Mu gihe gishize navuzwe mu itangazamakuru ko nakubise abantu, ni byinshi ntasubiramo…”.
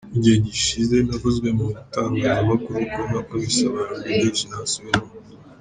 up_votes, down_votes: 2, 1